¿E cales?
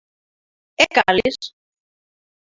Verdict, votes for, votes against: rejected, 0, 2